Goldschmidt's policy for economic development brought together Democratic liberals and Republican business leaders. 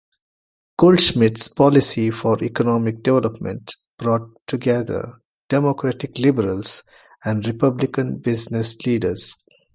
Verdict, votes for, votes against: accepted, 2, 1